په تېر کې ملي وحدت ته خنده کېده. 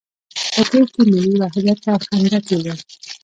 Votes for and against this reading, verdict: 0, 2, rejected